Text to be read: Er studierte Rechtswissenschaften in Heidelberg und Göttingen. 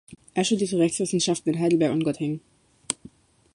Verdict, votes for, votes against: accepted, 2, 0